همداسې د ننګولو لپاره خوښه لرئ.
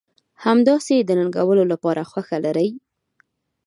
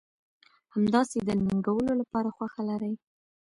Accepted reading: first